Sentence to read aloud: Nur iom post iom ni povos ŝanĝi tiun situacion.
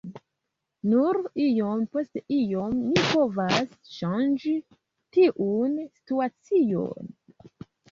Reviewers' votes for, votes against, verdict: 1, 2, rejected